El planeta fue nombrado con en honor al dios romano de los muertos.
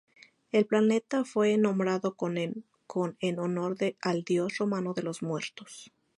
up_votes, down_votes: 0, 2